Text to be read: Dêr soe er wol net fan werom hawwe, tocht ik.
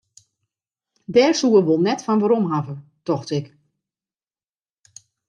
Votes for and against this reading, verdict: 2, 0, accepted